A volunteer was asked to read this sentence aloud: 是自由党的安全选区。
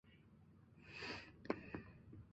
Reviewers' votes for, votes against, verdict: 1, 2, rejected